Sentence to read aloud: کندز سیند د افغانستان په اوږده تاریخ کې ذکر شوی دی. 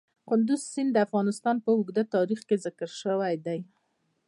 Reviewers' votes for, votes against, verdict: 0, 2, rejected